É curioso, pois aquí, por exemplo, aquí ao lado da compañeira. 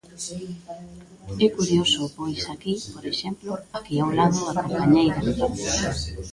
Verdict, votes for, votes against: rejected, 1, 2